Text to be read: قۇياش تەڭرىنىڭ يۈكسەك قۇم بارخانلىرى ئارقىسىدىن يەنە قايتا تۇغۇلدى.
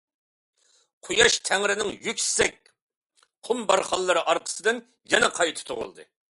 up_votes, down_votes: 2, 0